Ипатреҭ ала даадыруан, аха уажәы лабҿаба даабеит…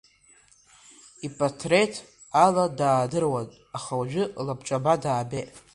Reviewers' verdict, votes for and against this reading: accepted, 2, 1